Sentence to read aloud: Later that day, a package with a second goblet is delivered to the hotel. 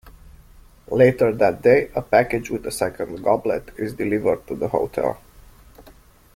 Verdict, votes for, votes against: rejected, 1, 2